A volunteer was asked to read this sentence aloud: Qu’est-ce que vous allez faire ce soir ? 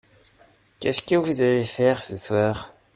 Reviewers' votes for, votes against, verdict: 1, 2, rejected